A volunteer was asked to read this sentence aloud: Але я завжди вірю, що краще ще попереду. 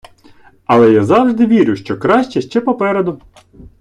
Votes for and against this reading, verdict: 2, 0, accepted